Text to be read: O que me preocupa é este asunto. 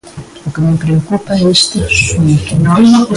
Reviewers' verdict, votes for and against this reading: rejected, 0, 2